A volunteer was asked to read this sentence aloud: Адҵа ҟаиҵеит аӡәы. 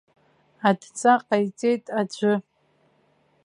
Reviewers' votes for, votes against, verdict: 2, 0, accepted